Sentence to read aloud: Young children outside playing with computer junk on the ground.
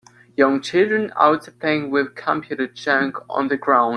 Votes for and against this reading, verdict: 1, 2, rejected